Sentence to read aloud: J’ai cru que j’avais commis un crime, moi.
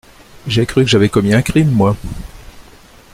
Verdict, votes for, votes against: accepted, 2, 0